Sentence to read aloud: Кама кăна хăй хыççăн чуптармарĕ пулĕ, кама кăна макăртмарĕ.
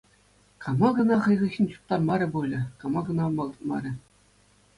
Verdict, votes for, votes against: accepted, 2, 0